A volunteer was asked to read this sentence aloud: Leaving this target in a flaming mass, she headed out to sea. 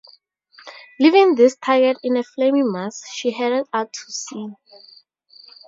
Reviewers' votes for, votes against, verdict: 2, 2, rejected